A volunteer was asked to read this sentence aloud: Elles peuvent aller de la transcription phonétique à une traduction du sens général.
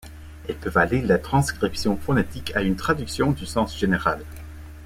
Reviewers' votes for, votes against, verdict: 0, 2, rejected